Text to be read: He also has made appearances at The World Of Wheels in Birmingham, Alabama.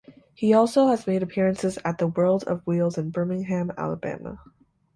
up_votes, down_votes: 0, 2